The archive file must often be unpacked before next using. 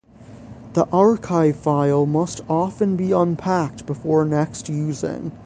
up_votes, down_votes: 6, 0